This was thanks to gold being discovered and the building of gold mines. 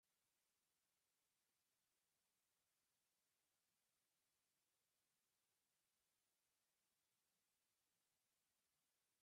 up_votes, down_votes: 0, 2